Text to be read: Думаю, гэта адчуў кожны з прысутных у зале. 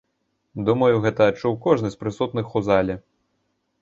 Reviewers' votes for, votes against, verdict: 2, 0, accepted